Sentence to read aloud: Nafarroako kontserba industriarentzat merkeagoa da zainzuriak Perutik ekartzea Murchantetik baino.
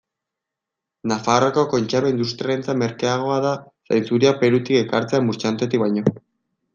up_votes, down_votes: 2, 0